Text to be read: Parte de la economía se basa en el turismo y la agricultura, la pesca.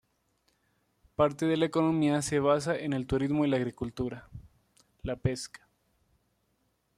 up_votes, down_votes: 2, 1